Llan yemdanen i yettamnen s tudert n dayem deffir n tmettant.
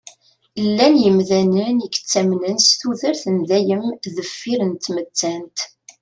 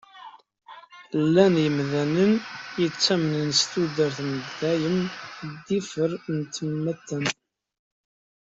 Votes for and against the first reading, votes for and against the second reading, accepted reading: 2, 0, 1, 2, first